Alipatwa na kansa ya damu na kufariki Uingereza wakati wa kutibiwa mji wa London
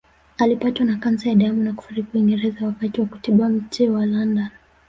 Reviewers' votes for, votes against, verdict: 1, 2, rejected